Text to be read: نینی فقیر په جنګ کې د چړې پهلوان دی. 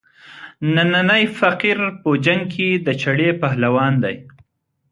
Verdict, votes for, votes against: rejected, 1, 2